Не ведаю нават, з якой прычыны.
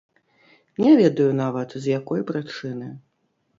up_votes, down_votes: 1, 2